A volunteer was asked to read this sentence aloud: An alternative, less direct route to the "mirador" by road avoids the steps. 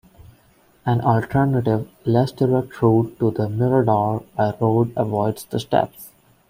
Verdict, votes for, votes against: accepted, 2, 0